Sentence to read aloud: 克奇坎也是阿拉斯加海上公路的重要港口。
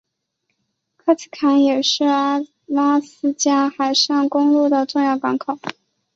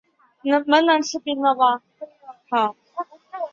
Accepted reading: first